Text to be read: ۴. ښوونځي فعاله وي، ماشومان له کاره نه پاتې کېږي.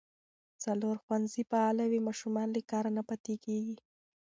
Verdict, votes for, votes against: rejected, 0, 2